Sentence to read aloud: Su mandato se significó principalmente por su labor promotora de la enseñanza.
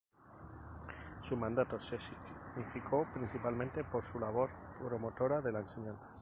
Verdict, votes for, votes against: rejected, 2, 2